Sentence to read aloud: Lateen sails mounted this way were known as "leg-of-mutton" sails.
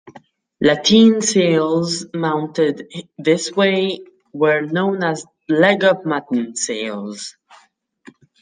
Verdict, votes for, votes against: rejected, 0, 2